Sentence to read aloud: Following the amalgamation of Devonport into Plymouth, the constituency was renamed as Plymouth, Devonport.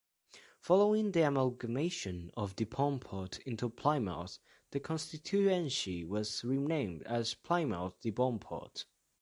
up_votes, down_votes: 0, 2